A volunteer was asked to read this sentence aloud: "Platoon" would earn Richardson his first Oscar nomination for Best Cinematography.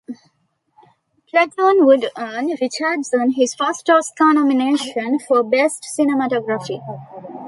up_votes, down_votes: 2, 0